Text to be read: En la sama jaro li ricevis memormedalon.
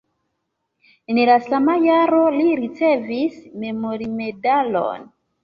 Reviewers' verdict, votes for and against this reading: accepted, 2, 0